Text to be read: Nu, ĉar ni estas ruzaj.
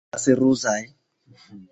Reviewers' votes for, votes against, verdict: 2, 1, accepted